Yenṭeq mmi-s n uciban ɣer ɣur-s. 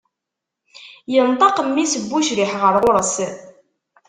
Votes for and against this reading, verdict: 1, 2, rejected